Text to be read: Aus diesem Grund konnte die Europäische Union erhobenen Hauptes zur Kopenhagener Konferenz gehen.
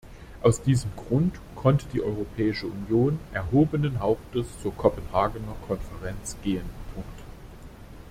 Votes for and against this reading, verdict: 0, 2, rejected